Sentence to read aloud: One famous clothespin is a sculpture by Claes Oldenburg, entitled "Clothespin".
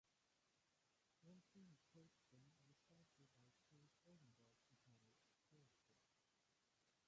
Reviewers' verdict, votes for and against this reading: rejected, 0, 2